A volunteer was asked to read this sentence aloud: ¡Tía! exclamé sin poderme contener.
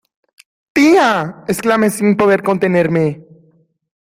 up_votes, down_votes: 2, 1